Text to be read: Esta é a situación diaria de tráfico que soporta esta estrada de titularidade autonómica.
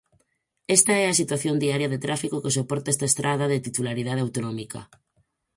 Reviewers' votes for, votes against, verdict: 4, 0, accepted